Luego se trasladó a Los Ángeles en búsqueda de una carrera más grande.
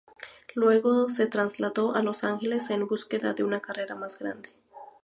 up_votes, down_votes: 2, 0